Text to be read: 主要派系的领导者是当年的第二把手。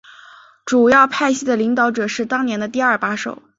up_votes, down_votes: 4, 0